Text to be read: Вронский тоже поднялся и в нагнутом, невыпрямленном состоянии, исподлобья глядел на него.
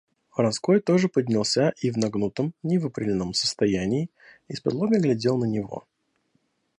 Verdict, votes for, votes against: rejected, 0, 2